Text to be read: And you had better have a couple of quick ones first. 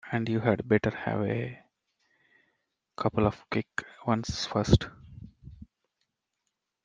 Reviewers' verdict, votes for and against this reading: rejected, 0, 2